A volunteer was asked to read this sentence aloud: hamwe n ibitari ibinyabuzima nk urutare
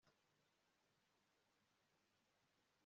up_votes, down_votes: 1, 2